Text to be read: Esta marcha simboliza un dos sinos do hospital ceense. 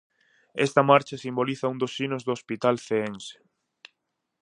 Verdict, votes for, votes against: accepted, 4, 0